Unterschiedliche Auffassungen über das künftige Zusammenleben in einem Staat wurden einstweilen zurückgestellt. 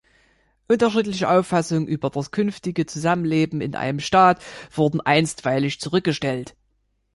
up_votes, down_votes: 1, 2